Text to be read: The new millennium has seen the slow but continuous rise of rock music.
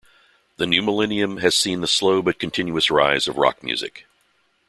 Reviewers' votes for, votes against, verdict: 2, 0, accepted